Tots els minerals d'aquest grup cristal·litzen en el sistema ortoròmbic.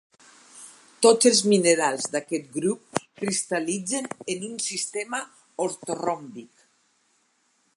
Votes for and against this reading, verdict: 0, 4, rejected